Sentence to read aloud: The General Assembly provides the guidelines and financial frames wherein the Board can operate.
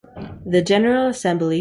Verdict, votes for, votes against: rejected, 0, 2